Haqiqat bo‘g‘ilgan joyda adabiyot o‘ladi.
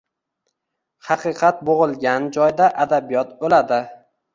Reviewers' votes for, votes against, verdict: 2, 0, accepted